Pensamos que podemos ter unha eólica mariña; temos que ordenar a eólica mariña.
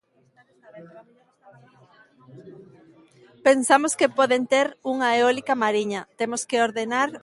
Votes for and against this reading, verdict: 0, 2, rejected